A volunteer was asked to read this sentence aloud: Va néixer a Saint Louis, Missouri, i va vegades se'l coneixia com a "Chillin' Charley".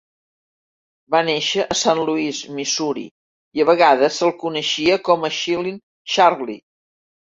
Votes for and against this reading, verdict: 1, 2, rejected